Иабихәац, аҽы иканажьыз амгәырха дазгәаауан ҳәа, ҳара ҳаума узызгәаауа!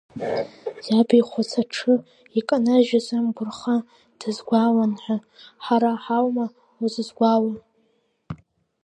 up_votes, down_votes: 3, 2